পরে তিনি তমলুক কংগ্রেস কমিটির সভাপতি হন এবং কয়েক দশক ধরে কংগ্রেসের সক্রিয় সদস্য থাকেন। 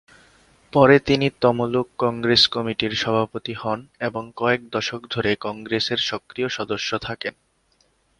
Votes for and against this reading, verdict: 3, 1, accepted